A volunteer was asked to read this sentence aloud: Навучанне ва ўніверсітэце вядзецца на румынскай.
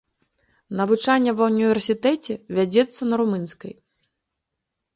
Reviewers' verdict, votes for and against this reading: accepted, 2, 0